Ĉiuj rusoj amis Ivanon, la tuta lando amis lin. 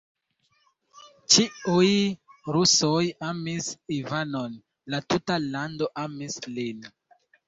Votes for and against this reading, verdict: 2, 0, accepted